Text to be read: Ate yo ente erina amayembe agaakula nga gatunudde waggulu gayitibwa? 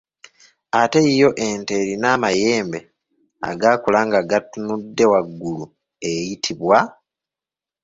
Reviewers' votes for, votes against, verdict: 1, 2, rejected